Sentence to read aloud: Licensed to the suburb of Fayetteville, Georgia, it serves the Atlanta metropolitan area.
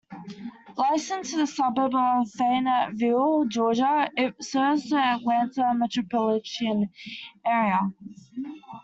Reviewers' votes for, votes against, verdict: 1, 2, rejected